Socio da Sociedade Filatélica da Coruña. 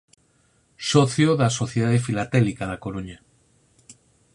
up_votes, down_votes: 6, 2